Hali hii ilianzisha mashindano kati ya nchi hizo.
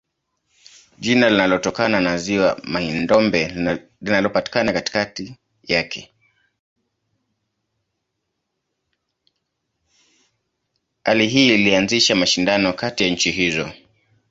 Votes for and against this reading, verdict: 0, 2, rejected